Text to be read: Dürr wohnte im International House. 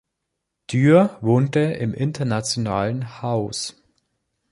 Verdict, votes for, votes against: rejected, 0, 2